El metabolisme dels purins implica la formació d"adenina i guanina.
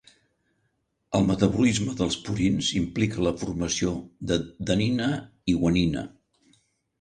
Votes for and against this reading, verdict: 0, 2, rejected